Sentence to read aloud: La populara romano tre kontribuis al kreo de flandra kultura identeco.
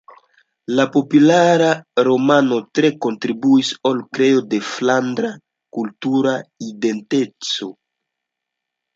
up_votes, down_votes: 0, 2